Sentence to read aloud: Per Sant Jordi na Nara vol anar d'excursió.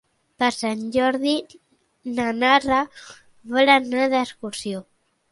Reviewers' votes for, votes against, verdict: 2, 0, accepted